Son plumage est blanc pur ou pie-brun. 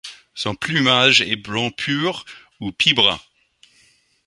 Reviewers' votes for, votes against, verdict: 2, 0, accepted